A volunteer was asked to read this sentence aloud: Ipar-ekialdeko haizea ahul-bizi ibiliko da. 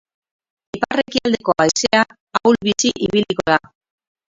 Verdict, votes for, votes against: rejected, 0, 4